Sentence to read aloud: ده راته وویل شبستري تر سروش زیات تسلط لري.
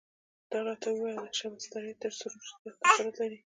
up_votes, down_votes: 1, 2